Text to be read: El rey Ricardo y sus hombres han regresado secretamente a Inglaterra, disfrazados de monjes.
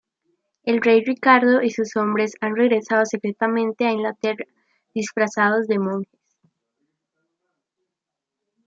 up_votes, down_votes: 1, 2